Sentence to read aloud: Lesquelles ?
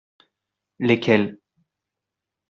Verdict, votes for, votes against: accepted, 2, 0